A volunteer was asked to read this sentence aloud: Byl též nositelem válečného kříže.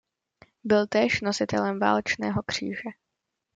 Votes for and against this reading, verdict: 2, 0, accepted